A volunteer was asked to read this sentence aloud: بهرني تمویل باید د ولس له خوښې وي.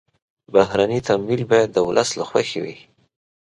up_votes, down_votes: 2, 0